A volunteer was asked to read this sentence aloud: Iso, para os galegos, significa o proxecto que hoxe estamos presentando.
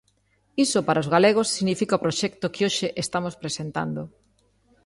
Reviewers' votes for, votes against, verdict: 2, 0, accepted